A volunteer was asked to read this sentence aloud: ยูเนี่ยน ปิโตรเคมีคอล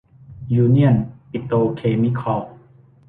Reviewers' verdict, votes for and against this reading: rejected, 1, 2